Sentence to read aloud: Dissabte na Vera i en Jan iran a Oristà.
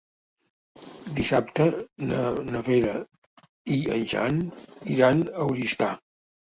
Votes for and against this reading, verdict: 0, 2, rejected